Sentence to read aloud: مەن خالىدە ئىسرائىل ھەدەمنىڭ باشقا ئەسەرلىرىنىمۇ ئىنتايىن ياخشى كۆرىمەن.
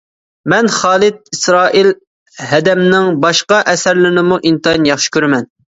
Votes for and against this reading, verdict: 0, 2, rejected